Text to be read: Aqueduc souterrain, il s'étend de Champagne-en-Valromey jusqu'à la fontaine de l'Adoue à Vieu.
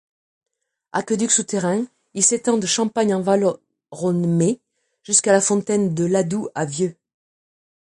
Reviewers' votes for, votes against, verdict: 1, 2, rejected